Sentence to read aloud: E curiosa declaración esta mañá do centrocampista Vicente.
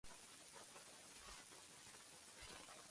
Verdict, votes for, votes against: rejected, 0, 2